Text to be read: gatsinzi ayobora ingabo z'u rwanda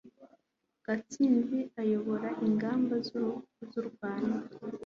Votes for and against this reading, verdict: 0, 2, rejected